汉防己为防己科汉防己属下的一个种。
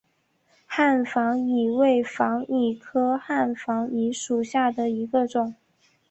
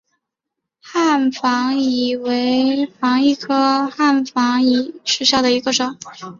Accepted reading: first